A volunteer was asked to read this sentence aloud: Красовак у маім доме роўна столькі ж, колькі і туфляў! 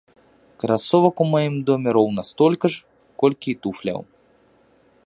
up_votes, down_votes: 2, 1